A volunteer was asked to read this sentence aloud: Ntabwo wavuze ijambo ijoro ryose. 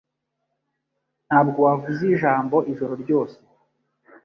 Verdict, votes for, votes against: accepted, 2, 0